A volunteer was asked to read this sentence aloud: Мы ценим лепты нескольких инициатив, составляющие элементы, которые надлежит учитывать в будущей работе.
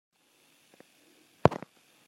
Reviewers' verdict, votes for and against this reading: rejected, 0, 2